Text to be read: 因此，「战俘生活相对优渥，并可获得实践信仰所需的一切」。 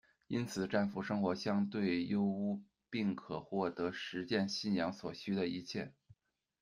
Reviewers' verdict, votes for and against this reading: rejected, 1, 2